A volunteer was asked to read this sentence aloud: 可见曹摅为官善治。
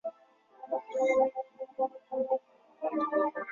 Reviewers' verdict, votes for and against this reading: rejected, 0, 2